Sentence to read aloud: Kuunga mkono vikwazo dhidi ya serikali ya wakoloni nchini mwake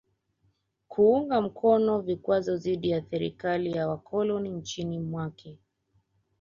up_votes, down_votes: 1, 2